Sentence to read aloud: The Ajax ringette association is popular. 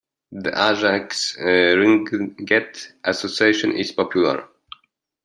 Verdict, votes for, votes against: rejected, 0, 2